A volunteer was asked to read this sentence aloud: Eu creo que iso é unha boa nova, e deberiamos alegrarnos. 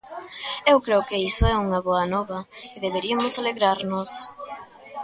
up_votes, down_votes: 1, 2